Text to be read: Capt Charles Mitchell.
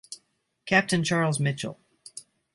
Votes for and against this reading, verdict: 2, 2, rejected